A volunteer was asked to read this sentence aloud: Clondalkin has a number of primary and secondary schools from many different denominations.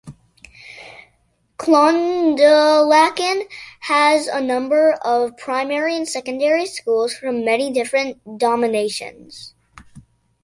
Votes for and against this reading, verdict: 0, 2, rejected